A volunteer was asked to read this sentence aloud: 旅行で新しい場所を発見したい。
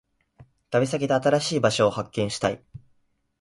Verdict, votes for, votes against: rejected, 1, 2